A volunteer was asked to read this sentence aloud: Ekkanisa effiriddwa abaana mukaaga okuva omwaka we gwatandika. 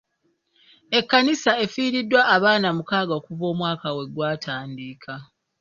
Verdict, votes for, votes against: accepted, 2, 0